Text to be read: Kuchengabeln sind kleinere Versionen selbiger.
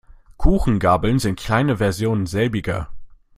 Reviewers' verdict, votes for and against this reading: rejected, 0, 2